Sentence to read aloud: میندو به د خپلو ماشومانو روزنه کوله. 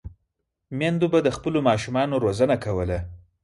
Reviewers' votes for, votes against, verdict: 4, 0, accepted